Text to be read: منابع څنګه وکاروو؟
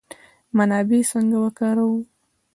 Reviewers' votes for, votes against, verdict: 1, 2, rejected